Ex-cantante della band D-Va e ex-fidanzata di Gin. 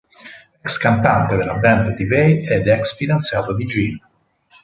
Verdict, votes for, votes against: accepted, 4, 2